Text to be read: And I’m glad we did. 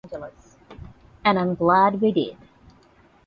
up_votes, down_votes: 8, 0